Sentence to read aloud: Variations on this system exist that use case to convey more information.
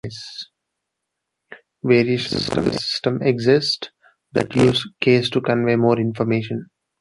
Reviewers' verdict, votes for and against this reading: rejected, 0, 2